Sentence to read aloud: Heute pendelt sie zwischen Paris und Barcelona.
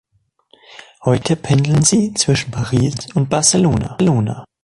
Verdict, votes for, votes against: rejected, 0, 2